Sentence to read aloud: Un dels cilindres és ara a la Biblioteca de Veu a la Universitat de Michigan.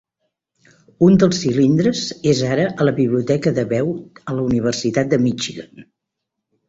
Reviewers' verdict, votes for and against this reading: accepted, 2, 0